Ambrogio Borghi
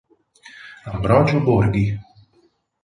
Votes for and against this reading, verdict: 4, 0, accepted